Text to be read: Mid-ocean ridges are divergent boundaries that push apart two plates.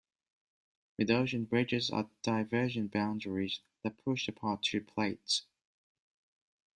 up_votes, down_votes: 2, 0